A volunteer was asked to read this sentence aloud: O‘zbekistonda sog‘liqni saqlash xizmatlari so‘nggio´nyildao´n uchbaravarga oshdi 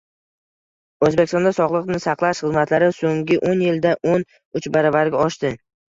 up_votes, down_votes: 0, 2